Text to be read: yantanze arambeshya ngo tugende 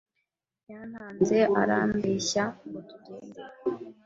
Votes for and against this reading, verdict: 1, 2, rejected